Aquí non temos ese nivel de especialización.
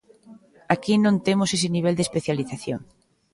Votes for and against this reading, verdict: 3, 0, accepted